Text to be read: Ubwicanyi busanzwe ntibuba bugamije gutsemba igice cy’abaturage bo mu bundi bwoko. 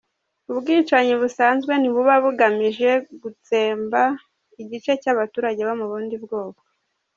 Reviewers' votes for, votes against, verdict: 2, 1, accepted